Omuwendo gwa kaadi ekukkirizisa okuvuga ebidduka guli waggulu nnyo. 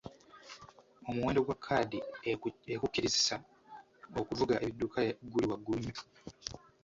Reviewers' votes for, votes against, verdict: 0, 2, rejected